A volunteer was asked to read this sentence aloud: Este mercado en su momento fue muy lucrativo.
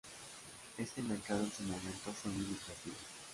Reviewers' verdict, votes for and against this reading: rejected, 1, 2